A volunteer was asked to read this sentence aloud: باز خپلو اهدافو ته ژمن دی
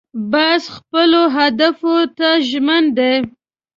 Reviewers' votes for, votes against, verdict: 0, 2, rejected